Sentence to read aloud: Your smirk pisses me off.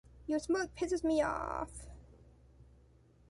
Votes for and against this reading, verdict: 2, 1, accepted